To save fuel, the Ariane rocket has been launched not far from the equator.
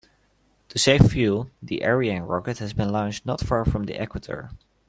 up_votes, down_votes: 2, 0